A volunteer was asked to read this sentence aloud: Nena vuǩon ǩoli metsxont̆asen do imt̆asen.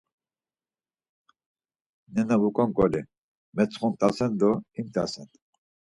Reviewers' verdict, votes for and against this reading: accepted, 4, 0